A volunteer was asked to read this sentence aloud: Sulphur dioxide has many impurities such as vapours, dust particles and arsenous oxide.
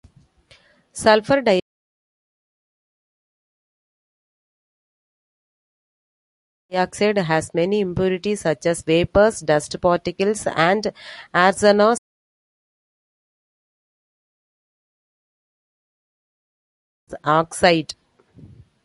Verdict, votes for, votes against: rejected, 0, 2